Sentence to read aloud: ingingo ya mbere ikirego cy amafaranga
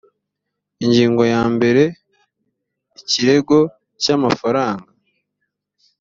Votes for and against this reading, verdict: 2, 0, accepted